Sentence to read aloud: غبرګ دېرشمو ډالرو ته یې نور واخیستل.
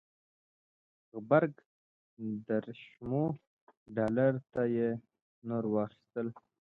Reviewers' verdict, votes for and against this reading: accepted, 2, 0